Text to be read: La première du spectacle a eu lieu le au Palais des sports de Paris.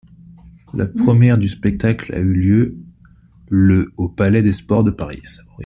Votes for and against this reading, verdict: 0, 2, rejected